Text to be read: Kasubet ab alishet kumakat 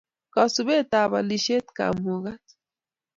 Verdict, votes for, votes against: rejected, 1, 2